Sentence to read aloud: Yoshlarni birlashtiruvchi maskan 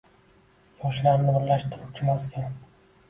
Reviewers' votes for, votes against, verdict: 1, 2, rejected